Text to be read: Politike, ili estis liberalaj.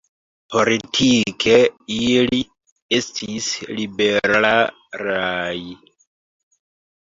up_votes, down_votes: 0, 3